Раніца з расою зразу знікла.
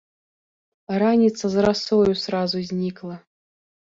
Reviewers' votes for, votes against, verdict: 1, 3, rejected